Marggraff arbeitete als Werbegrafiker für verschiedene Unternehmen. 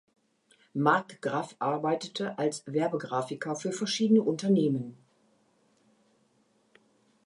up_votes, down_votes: 2, 0